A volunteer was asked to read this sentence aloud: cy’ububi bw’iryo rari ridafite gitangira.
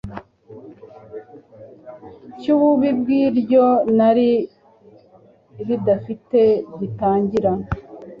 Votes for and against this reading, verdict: 2, 1, accepted